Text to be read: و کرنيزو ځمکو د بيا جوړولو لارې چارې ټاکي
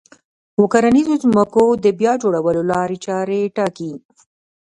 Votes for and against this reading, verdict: 1, 2, rejected